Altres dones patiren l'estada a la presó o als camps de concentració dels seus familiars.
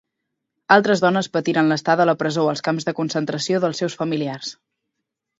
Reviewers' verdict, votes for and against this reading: accepted, 2, 0